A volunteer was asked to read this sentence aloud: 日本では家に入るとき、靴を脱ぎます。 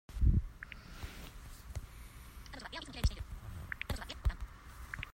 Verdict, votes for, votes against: rejected, 0, 2